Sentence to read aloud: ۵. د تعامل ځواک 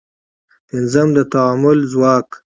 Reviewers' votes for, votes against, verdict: 0, 2, rejected